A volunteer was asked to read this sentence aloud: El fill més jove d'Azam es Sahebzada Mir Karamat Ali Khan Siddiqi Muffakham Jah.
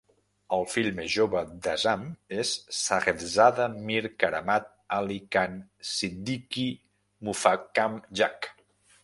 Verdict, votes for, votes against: accepted, 2, 1